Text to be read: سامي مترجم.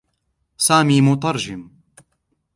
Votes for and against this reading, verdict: 2, 0, accepted